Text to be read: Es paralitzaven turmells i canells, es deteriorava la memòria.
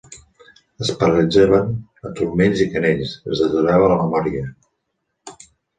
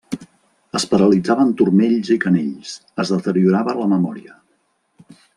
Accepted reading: second